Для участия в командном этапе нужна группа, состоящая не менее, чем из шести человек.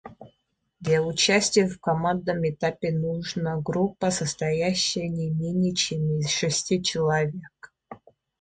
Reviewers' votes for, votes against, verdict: 2, 0, accepted